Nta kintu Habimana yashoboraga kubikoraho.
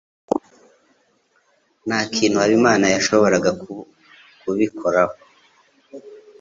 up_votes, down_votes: 1, 2